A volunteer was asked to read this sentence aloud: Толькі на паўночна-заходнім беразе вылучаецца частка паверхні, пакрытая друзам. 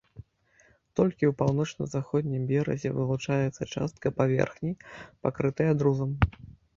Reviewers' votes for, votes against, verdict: 0, 2, rejected